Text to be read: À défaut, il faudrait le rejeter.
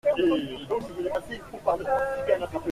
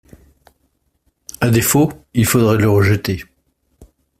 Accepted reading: second